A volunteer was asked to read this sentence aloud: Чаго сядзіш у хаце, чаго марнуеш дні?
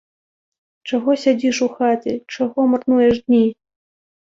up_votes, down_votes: 2, 0